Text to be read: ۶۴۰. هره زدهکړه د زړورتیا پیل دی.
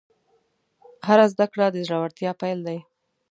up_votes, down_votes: 0, 2